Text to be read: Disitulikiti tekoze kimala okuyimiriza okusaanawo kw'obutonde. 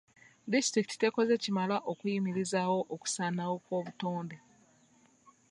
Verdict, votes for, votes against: rejected, 1, 2